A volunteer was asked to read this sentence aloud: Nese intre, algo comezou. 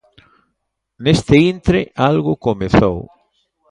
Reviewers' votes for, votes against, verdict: 1, 2, rejected